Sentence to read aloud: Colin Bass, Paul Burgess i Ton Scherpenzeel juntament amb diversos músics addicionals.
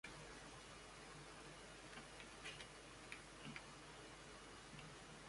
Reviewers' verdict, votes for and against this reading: rejected, 1, 2